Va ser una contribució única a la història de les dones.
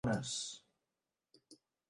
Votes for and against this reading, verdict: 0, 2, rejected